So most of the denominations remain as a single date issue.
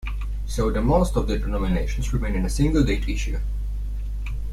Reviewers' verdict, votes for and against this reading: rejected, 1, 2